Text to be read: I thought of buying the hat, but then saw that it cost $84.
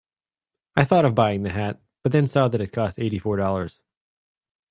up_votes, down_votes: 0, 2